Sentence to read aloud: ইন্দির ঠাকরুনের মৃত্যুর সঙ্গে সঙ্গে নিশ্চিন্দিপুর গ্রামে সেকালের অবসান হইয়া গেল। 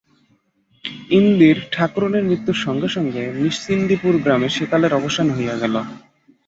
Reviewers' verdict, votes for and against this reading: accepted, 5, 0